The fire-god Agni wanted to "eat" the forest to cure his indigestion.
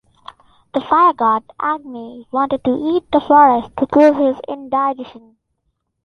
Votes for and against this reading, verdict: 3, 1, accepted